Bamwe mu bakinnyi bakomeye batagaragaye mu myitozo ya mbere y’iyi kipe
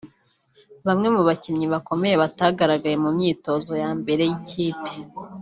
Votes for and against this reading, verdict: 0, 2, rejected